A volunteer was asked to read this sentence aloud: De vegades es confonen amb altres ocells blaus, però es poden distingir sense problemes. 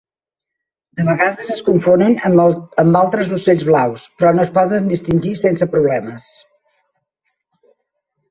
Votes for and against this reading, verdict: 0, 2, rejected